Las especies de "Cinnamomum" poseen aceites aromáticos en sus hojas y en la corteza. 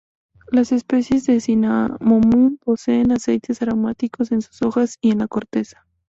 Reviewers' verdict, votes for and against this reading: rejected, 0, 2